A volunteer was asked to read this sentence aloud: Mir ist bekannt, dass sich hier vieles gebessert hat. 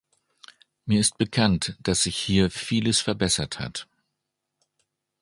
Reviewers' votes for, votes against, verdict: 0, 2, rejected